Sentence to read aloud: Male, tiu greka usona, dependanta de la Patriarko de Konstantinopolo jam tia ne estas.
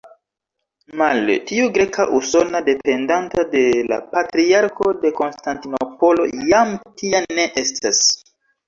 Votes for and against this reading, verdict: 1, 2, rejected